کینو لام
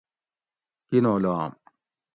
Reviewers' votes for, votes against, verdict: 2, 0, accepted